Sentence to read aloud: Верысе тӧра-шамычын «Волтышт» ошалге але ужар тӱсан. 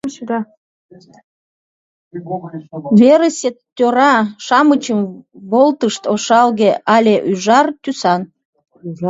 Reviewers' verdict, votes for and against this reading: rejected, 1, 2